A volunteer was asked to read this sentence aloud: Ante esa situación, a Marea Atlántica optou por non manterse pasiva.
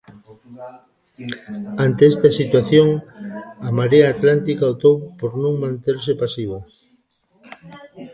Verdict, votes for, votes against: rejected, 0, 2